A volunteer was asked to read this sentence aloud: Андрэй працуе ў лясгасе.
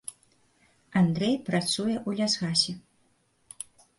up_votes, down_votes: 2, 0